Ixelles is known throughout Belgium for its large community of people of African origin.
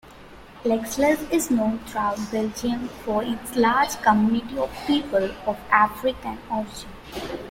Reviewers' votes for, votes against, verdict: 0, 2, rejected